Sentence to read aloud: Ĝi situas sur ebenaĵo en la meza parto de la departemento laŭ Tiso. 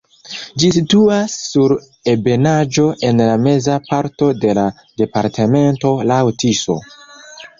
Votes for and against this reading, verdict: 0, 2, rejected